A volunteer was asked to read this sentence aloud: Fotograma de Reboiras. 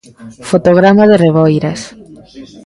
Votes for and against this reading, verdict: 2, 0, accepted